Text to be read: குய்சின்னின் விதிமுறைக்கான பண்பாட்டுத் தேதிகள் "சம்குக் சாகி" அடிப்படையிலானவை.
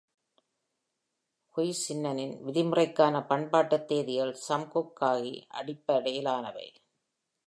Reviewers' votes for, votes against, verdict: 0, 2, rejected